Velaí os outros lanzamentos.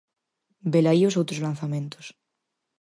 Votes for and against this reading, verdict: 4, 0, accepted